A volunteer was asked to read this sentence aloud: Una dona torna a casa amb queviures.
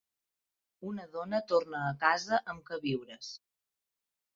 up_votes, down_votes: 2, 0